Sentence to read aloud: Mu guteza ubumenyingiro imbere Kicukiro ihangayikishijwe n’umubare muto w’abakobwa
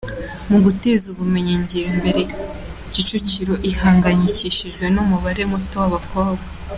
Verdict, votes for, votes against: accepted, 2, 0